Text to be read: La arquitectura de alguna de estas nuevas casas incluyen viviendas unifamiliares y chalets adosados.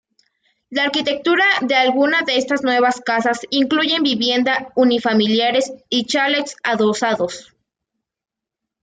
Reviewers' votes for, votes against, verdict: 1, 2, rejected